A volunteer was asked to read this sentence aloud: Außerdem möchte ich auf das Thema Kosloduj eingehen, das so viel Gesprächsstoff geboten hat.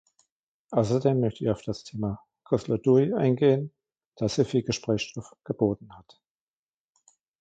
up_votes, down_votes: 1, 2